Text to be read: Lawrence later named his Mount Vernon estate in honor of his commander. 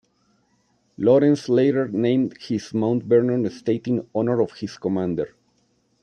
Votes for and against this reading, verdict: 2, 0, accepted